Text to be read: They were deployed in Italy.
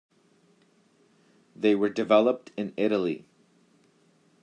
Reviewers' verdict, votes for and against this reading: rejected, 0, 2